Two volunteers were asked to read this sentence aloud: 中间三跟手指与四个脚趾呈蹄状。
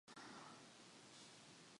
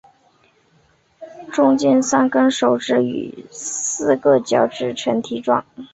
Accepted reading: second